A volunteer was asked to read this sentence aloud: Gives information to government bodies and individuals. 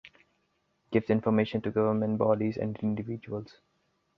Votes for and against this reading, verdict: 2, 0, accepted